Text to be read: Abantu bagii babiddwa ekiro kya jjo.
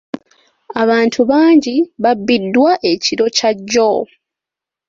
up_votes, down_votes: 2, 0